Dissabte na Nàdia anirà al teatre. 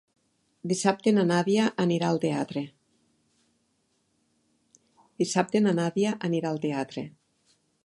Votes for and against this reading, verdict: 1, 2, rejected